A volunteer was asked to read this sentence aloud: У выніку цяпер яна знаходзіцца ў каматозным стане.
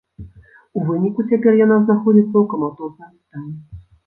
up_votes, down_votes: 1, 2